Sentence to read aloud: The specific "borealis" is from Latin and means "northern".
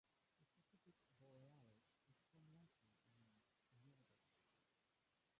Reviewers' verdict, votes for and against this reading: rejected, 0, 2